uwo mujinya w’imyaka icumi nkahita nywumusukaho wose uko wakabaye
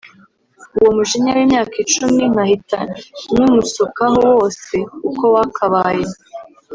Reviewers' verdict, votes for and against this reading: rejected, 0, 2